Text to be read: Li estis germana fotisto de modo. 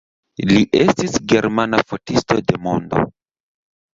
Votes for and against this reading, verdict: 1, 2, rejected